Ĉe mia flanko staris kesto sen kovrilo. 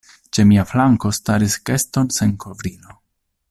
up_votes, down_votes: 1, 2